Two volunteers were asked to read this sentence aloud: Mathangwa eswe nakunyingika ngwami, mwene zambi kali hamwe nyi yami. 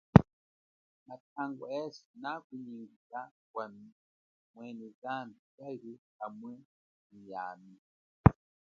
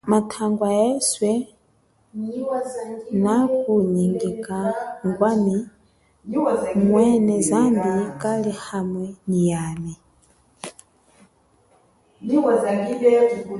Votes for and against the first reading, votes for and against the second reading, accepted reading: 2, 1, 1, 2, first